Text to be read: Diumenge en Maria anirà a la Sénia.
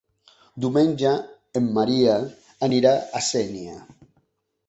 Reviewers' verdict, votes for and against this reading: rejected, 0, 2